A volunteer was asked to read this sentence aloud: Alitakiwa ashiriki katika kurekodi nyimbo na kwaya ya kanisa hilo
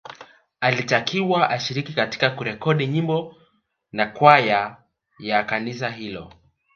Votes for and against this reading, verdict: 0, 2, rejected